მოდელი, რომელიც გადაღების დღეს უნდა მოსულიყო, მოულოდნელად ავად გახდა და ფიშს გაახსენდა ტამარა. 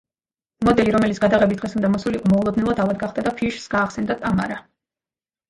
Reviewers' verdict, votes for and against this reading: rejected, 0, 2